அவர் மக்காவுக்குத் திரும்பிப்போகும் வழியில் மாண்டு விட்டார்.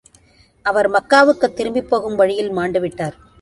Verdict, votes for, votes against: accepted, 2, 0